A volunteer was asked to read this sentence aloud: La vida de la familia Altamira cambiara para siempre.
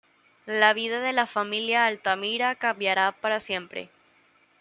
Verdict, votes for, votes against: accepted, 2, 0